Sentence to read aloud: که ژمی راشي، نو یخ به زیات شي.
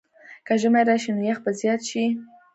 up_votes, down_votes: 1, 2